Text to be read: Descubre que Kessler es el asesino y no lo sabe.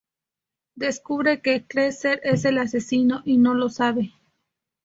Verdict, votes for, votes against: accepted, 6, 2